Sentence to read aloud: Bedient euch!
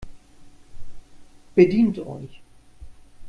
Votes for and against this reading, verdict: 2, 0, accepted